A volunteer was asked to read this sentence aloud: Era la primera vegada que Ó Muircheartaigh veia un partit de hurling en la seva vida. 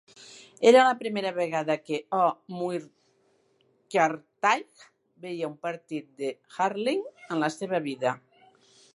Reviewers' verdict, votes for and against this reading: rejected, 0, 2